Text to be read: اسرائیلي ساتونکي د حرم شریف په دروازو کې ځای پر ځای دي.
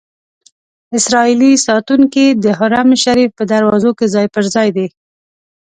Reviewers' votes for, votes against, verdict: 2, 0, accepted